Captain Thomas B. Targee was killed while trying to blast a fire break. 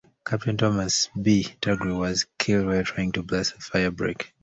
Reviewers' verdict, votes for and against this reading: rejected, 0, 2